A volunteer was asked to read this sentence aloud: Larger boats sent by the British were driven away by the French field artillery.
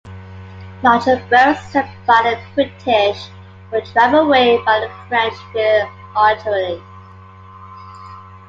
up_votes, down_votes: 0, 3